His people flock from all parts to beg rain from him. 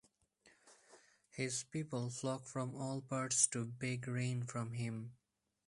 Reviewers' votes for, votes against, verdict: 6, 2, accepted